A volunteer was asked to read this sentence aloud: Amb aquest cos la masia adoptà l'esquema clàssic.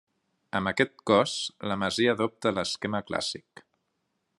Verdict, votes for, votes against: rejected, 0, 2